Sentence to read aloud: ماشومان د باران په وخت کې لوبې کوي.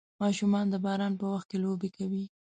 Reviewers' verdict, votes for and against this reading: accepted, 2, 0